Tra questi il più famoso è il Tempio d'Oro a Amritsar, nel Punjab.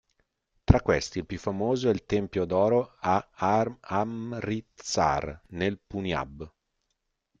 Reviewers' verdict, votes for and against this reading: rejected, 0, 2